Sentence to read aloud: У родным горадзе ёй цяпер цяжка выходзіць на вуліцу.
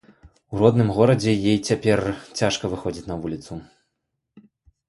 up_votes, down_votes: 2, 1